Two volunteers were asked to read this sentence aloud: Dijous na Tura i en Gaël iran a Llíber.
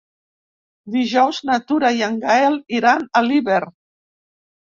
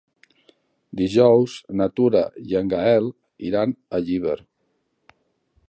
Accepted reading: second